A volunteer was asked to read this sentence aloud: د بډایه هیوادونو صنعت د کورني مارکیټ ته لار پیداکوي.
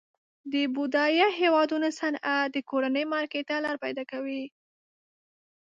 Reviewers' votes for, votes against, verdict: 0, 2, rejected